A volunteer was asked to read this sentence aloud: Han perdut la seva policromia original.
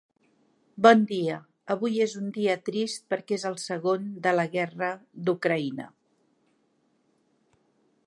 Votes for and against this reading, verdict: 0, 2, rejected